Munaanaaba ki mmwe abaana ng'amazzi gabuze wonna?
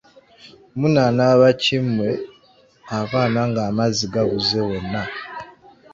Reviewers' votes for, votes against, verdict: 2, 1, accepted